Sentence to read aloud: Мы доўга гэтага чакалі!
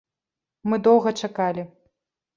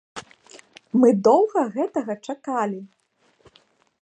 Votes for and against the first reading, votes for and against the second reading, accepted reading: 1, 2, 2, 0, second